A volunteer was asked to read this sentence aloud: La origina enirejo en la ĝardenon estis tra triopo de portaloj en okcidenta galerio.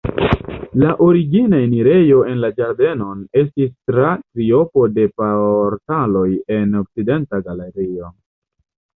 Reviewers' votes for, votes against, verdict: 1, 2, rejected